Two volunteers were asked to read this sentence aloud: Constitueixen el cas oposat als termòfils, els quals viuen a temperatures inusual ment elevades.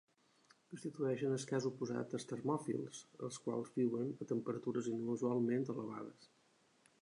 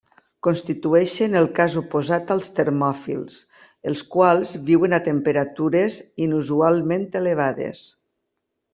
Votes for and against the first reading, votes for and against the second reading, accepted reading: 1, 2, 2, 0, second